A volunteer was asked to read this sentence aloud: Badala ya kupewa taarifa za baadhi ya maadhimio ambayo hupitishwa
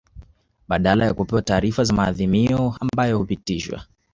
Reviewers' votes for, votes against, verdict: 1, 2, rejected